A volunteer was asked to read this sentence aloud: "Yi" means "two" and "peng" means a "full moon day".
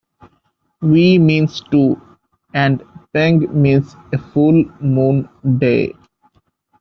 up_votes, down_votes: 1, 2